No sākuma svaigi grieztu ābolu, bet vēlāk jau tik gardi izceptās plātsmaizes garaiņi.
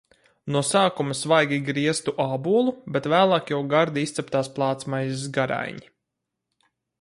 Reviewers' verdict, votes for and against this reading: rejected, 0, 2